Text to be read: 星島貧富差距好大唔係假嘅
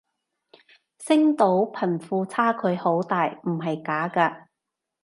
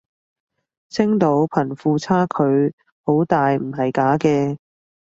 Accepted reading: second